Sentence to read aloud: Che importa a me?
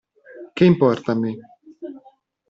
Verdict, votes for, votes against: accepted, 2, 0